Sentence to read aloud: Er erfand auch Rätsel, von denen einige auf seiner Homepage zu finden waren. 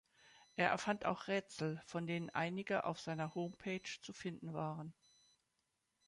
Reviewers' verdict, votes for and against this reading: accepted, 2, 0